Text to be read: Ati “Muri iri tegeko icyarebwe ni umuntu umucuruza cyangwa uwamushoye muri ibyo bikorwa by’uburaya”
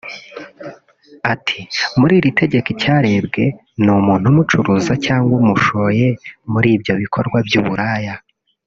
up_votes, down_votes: 0, 2